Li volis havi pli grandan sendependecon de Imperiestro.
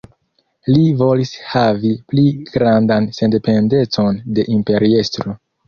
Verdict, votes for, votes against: accepted, 2, 0